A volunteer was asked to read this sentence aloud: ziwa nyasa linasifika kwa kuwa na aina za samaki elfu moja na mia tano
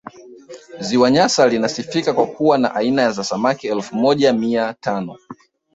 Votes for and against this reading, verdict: 0, 2, rejected